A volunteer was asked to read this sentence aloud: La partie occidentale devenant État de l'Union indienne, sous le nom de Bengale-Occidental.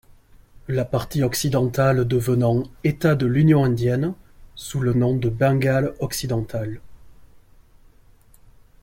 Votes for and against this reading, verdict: 4, 0, accepted